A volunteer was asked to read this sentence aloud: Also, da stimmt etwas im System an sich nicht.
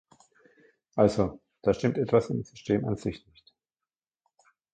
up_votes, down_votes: 1, 2